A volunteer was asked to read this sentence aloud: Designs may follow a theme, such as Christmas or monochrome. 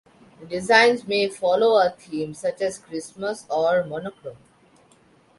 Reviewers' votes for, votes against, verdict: 3, 0, accepted